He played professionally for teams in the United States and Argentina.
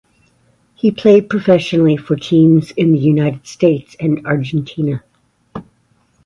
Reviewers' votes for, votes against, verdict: 2, 0, accepted